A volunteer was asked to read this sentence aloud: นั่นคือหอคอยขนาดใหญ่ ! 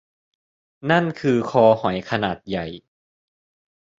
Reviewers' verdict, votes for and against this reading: rejected, 0, 2